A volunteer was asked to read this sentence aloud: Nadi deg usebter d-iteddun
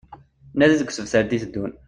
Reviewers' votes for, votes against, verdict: 2, 1, accepted